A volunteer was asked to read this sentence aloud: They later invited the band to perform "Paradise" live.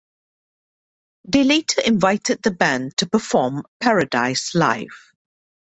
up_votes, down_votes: 2, 0